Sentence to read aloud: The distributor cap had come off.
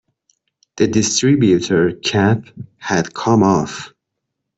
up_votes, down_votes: 1, 2